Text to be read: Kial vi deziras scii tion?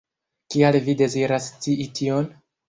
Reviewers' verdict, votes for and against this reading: accepted, 2, 0